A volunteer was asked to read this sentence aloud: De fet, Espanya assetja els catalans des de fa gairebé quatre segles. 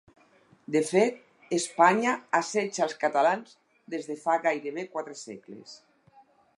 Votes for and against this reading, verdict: 4, 0, accepted